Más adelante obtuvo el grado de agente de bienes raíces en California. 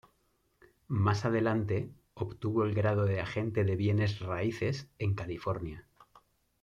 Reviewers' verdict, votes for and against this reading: accepted, 2, 0